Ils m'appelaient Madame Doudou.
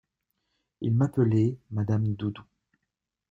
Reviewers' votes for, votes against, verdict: 2, 0, accepted